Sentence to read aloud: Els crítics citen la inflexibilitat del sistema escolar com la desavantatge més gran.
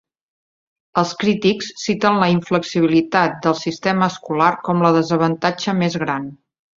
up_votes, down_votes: 3, 0